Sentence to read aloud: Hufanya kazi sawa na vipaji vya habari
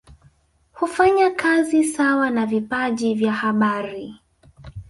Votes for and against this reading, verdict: 0, 2, rejected